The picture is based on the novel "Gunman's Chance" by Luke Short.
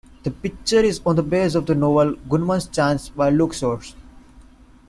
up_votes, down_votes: 0, 2